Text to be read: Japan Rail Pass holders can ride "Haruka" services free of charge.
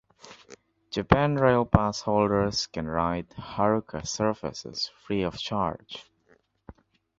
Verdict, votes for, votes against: accepted, 2, 0